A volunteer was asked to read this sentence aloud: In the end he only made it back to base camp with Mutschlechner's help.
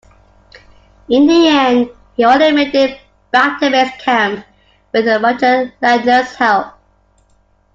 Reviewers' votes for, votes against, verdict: 0, 2, rejected